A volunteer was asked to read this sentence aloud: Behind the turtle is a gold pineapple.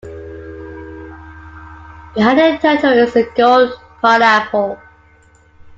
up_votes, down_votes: 2, 1